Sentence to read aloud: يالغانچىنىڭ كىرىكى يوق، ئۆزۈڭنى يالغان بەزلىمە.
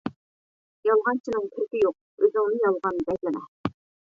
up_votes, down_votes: 1, 2